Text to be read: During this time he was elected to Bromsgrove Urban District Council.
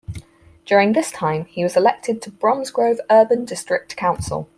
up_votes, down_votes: 4, 0